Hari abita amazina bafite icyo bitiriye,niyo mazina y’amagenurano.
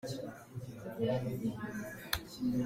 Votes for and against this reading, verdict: 0, 2, rejected